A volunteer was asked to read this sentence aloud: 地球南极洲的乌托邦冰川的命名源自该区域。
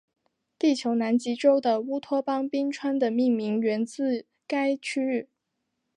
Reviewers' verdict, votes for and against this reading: accepted, 2, 1